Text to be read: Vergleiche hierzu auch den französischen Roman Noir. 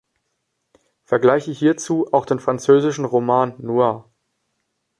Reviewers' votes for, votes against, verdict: 2, 0, accepted